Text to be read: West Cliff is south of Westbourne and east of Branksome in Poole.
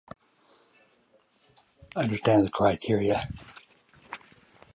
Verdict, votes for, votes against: rejected, 1, 2